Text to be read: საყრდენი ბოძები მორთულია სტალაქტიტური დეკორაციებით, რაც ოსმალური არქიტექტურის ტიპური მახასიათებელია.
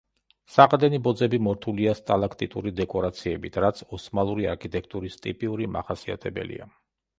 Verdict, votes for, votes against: rejected, 0, 2